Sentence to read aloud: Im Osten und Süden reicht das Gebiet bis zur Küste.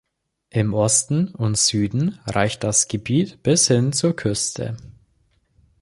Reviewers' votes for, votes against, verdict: 0, 2, rejected